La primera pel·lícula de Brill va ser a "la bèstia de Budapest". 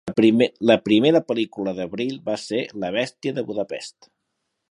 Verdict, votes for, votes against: accepted, 2, 1